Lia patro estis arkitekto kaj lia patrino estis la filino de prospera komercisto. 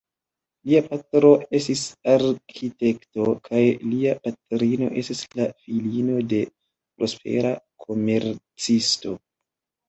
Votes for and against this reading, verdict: 2, 0, accepted